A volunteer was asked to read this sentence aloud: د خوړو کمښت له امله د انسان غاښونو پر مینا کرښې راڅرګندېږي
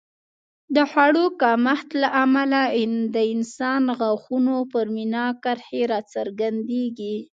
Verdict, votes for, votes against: accepted, 2, 0